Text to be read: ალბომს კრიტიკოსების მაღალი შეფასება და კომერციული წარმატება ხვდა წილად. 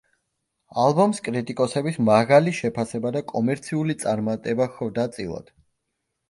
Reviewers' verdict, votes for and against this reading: accepted, 2, 0